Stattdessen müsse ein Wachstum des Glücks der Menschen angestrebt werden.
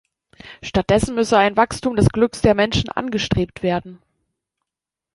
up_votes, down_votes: 2, 0